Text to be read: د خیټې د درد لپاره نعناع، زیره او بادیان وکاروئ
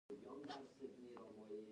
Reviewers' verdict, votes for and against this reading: rejected, 1, 2